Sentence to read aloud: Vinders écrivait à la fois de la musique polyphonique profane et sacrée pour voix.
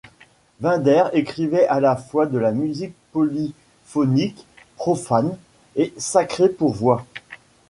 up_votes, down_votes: 2, 1